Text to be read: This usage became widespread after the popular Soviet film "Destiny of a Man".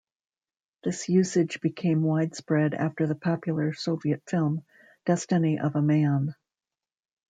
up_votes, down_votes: 2, 0